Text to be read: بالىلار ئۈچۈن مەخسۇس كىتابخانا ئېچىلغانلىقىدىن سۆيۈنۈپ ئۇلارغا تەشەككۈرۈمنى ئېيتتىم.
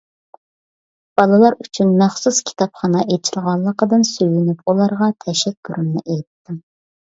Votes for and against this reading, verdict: 2, 0, accepted